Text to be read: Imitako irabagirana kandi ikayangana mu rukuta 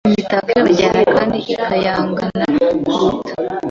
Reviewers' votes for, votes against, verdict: 1, 2, rejected